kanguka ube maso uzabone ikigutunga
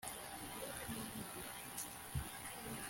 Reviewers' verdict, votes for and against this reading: rejected, 1, 2